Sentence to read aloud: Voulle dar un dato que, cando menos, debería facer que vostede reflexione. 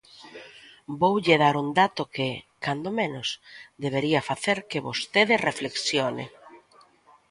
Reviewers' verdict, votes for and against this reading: accepted, 3, 0